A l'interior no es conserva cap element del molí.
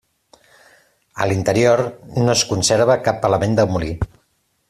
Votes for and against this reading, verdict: 2, 0, accepted